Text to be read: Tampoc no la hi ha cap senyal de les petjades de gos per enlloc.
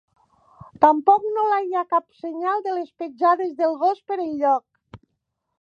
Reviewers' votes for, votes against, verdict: 2, 1, accepted